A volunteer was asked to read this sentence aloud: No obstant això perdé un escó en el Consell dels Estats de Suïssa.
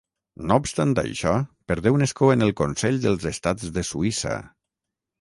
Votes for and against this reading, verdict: 3, 3, rejected